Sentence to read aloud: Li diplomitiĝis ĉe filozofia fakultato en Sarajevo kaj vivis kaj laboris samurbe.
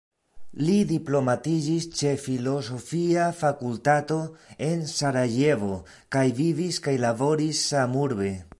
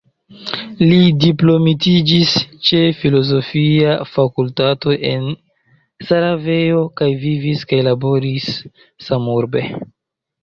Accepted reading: second